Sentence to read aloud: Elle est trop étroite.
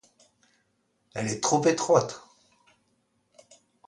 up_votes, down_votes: 2, 0